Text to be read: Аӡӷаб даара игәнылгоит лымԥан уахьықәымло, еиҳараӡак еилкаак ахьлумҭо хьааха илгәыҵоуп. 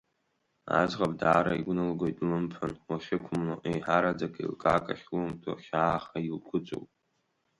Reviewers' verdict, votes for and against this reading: accepted, 3, 0